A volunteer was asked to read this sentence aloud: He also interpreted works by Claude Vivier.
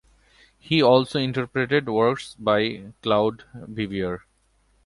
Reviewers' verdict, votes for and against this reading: accepted, 2, 0